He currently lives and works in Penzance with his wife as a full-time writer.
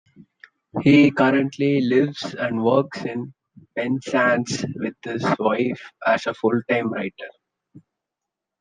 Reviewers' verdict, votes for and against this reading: rejected, 1, 2